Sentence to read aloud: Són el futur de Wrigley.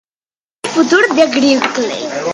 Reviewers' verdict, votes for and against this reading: rejected, 0, 2